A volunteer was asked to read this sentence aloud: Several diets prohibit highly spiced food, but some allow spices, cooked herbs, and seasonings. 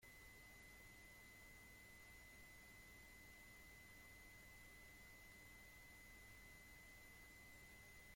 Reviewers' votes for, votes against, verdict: 0, 2, rejected